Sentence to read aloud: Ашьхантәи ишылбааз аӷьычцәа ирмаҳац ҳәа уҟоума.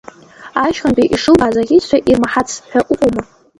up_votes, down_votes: 2, 0